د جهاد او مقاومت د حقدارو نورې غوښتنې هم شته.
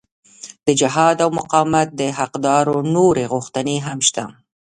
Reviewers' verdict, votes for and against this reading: accepted, 2, 0